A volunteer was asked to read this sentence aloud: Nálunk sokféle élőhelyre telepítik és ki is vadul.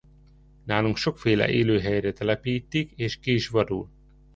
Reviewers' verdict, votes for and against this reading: accepted, 3, 0